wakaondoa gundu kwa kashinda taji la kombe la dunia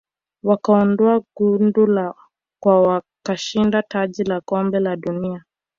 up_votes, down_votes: 0, 2